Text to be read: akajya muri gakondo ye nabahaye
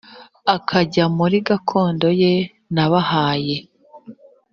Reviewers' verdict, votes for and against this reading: accepted, 3, 0